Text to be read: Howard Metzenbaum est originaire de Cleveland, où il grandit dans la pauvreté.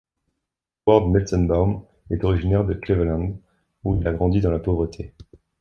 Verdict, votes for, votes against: rejected, 0, 2